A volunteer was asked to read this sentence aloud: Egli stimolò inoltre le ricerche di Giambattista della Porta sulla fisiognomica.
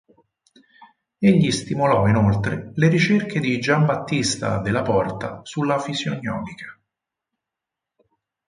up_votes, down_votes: 8, 0